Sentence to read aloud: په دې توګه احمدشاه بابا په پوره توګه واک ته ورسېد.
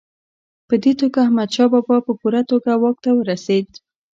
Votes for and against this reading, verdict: 2, 0, accepted